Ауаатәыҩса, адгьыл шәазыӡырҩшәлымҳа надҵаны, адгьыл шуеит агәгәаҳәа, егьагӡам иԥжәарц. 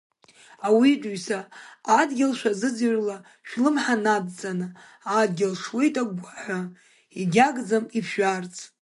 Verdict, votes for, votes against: rejected, 0, 2